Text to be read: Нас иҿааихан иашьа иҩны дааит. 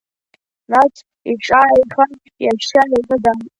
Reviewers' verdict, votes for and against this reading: rejected, 1, 2